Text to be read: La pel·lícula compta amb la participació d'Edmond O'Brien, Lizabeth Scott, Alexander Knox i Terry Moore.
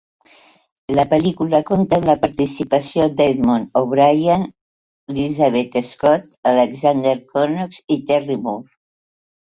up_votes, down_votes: 2, 0